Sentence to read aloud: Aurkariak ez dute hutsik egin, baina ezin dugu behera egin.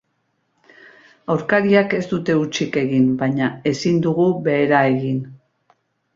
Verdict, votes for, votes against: accepted, 5, 0